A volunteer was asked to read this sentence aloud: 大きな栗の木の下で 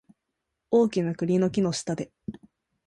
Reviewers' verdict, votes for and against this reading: accepted, 2, 0